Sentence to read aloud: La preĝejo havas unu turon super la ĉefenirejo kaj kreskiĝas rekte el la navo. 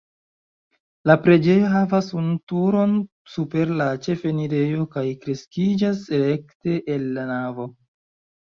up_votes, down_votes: 1, 2